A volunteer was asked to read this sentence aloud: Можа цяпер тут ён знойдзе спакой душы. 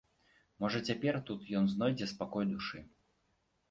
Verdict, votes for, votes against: accepted, 2, 0